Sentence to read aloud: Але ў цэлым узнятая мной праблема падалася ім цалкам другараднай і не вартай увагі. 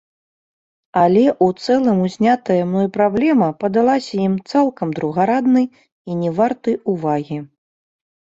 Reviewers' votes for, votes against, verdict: 2, 1, accepted